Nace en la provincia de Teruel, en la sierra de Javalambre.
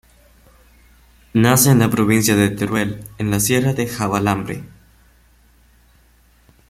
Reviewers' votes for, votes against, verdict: 1, 2, rejected